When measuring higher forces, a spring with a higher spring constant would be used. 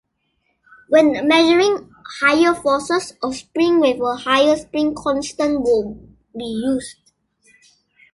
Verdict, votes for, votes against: rejected, 1, 2